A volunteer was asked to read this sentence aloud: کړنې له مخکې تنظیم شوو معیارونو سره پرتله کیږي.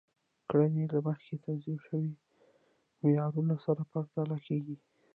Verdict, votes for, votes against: rejected, 1, 2